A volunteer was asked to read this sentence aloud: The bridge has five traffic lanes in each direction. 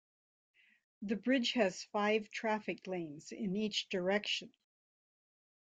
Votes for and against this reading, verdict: 2, 0, accepted